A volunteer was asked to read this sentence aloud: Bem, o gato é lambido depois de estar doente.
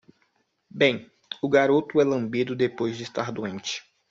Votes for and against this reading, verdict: 0, 2, rejected